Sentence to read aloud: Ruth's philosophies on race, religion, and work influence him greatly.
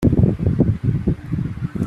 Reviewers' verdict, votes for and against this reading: rejected, 1, 2